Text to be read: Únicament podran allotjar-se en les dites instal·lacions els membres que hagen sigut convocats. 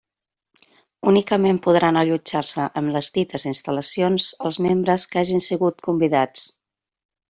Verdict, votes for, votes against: rejected, 0, 2